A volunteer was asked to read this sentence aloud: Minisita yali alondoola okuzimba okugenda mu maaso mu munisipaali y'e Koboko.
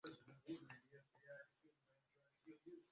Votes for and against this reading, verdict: 0, 2, rejected